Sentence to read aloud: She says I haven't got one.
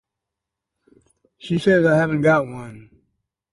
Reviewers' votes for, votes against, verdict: 4, 0, accepted